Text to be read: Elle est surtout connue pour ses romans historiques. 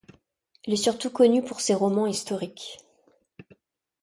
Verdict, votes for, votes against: accepted, 2, 1